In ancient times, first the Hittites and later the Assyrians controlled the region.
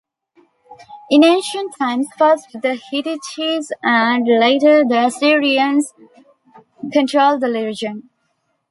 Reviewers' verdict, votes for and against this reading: rejected, 0, 2